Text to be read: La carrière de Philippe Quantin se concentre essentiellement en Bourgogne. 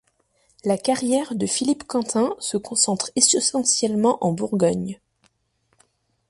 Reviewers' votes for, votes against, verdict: 0, 2, rejected